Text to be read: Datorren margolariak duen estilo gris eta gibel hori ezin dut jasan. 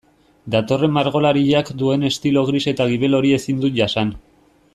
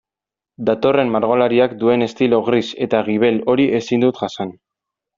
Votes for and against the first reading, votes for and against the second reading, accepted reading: 1, 2, 2, 0, second